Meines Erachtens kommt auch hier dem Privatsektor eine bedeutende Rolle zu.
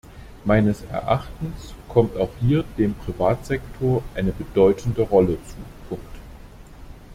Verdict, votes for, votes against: rejected, 0, 2